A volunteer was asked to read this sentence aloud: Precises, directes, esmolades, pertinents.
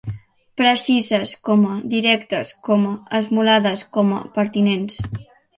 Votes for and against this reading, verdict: 0, 2, rejected